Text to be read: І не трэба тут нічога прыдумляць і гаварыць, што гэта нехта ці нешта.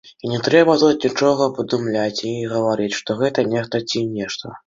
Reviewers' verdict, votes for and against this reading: accepted, 3, 2